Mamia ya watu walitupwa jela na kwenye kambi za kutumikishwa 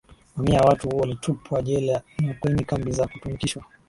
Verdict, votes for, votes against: accepted, 5, 0